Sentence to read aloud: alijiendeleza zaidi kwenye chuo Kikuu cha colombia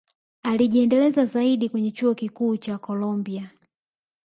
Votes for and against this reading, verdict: 2, 0, accepted